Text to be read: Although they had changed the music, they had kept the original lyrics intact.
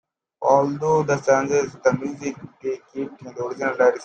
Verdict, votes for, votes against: rejected, 0, 2